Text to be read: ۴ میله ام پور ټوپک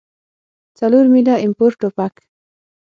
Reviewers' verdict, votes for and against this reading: rejected, 0, 2